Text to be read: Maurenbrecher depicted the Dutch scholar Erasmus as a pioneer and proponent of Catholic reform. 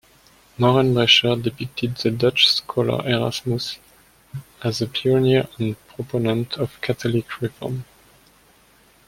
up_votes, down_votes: 1, 2